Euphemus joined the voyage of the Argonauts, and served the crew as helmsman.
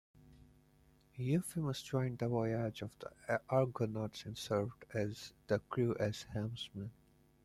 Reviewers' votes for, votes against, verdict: 2, 1, accepted